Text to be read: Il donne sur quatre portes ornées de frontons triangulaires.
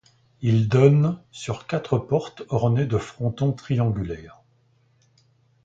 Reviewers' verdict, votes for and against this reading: accepted, 2, 0